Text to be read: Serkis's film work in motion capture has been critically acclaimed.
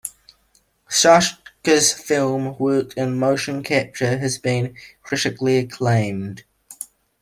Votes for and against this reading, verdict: 2, 1, accepted